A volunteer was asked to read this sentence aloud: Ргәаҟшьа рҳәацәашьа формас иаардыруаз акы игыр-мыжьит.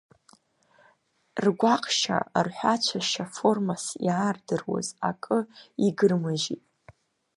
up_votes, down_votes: 2, 0